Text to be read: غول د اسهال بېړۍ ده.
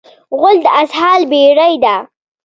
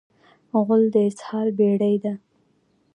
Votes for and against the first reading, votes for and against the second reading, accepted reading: 2, 0, 1, 2, first